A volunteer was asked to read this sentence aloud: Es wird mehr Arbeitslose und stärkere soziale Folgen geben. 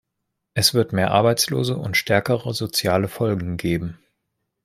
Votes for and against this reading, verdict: 1, 2, rejected